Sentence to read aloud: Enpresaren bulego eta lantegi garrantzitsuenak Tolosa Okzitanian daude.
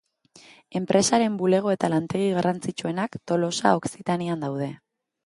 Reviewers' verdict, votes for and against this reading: accepted, 2, 0